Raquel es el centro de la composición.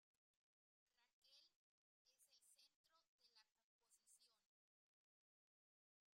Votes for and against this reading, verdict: 0, 2, rejected